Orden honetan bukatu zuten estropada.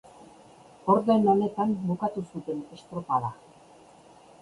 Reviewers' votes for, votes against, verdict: 0, 2, rejected